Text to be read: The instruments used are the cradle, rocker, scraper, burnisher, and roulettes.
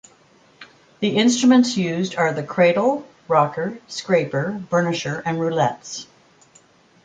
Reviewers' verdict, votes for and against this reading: accepted, 2, 0